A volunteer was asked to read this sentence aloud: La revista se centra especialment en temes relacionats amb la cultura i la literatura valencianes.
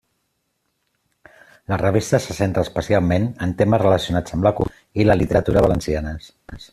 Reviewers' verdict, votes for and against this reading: rejected, 0, 2